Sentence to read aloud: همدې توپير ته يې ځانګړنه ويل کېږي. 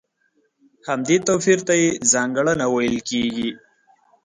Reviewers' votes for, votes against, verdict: 5, 0, accepted